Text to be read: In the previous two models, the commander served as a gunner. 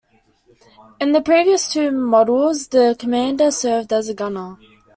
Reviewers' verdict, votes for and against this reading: accepted, 2, 1